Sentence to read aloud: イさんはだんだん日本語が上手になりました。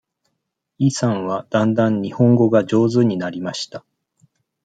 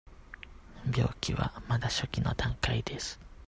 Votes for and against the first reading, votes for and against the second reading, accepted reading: 2, 0, 0, 2, first